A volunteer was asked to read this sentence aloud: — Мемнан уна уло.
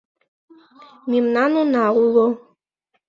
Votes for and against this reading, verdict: 2, 0, accepted